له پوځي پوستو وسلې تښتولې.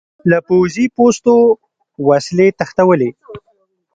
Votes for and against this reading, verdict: 2, 0, accepted